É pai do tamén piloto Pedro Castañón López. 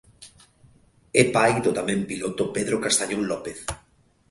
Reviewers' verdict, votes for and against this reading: accepted, 2, 0